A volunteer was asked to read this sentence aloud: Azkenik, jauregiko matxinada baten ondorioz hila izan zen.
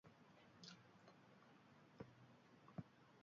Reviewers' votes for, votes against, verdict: 0, 2, rejected